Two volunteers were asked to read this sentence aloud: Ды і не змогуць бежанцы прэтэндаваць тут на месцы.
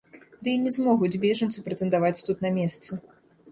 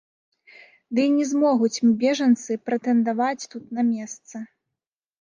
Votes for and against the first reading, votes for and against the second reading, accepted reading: 2, 0, 1, 2, first